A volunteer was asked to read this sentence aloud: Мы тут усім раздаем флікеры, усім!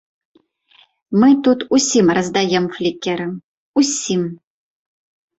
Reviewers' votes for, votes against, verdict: 2, 0, accepted